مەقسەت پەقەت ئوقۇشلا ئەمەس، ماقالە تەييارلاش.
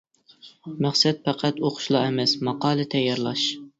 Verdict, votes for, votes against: accepted, 2, 1